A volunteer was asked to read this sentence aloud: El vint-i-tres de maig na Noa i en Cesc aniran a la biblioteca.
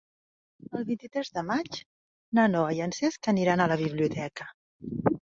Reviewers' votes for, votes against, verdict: 3, 0, accepted